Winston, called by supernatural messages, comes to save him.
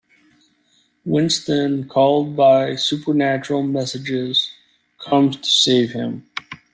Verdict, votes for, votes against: accepted, 2, 0